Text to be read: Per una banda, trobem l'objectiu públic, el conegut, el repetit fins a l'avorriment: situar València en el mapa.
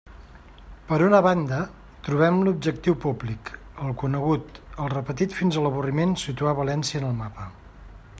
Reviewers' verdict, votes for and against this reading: accepted, 3, 0